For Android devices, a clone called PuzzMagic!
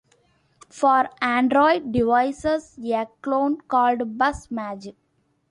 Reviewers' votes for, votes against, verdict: 1, 2, rejected